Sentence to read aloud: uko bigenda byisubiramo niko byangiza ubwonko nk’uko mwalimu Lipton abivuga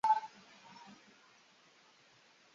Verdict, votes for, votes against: rejected, 0, 2